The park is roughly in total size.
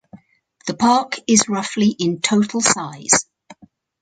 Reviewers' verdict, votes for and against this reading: accepted, 4, 0